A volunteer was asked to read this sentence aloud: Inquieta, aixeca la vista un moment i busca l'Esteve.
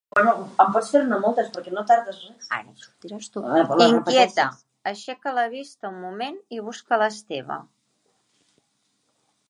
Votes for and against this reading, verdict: 0, 2, rejected